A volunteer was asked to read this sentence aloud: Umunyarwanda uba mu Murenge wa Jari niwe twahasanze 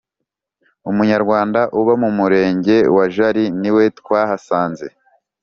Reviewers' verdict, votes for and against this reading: accepted, 2, 0